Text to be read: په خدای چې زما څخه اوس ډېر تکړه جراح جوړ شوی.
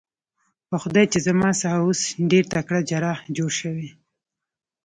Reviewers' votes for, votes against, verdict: 2, 0, accepted